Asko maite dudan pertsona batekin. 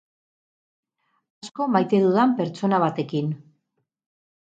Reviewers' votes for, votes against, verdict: 2, 2, rejected